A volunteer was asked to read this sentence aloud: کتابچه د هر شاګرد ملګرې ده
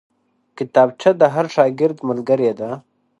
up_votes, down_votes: 3, 0